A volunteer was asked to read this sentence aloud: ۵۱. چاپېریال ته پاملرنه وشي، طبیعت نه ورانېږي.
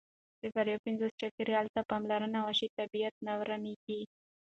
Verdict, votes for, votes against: rejected, 0, 2